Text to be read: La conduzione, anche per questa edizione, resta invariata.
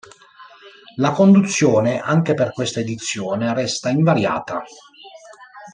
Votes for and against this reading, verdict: 1, 2, rejected